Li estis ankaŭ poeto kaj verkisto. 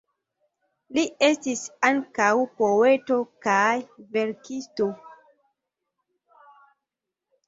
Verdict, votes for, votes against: rejected, 1, 2